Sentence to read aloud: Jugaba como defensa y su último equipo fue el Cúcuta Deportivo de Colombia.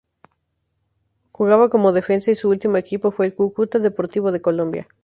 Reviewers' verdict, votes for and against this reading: rejected, 0, 2